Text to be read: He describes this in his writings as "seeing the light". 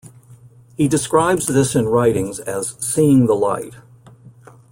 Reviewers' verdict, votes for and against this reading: rejected, 0, 2